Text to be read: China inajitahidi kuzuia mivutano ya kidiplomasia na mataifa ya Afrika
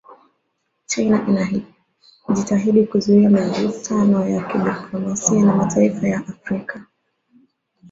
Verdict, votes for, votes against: rejected, 0, 2